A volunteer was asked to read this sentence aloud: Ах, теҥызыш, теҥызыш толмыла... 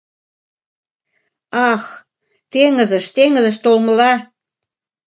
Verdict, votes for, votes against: accepted, 2, 0